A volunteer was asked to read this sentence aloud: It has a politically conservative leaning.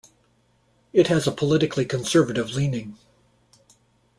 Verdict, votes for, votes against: accepted, 2, 0